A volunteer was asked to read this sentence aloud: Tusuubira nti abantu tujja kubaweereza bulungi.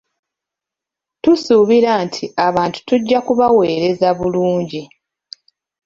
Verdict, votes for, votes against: accepted, 2, 0